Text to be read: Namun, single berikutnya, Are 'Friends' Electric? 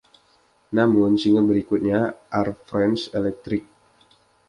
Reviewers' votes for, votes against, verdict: 2, 0, accepted